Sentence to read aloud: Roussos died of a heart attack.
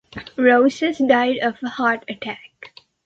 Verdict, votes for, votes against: accepted, 2, 1